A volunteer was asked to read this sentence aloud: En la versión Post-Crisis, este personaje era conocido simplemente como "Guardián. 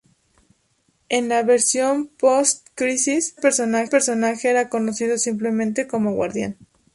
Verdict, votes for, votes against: rejected, 0, 4